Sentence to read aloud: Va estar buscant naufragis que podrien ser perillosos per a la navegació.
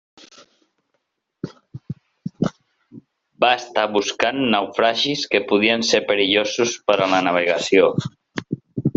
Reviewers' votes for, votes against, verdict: 1, 2, rejected